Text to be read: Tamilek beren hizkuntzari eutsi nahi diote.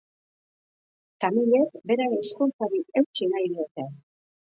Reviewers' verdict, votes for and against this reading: rejected, 1, 2